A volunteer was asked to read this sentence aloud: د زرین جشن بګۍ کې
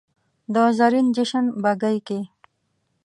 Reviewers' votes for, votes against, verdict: 2, 0, accepted